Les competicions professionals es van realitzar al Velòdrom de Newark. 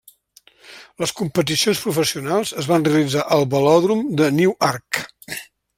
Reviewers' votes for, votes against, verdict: 1, 2, rejected